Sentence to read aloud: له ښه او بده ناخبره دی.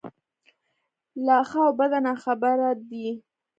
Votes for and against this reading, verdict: 2, 1, accepted